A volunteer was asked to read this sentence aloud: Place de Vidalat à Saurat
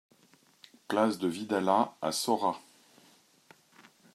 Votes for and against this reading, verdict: 2, 0, accepted